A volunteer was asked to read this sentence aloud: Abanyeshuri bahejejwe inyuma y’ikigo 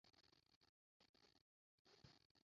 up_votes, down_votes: 0, 3